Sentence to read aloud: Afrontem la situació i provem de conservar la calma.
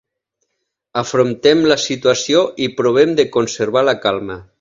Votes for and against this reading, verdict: 2, 0, accepted